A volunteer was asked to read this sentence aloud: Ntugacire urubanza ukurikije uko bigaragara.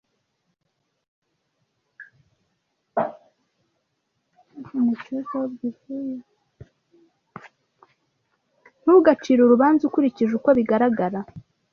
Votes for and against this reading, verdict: 0, 2, rejected